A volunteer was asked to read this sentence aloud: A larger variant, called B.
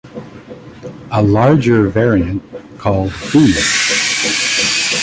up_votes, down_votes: 0, 2